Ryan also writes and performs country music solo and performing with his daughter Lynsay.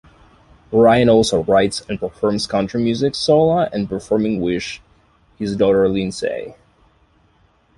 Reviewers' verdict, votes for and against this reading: accepted, 2, 0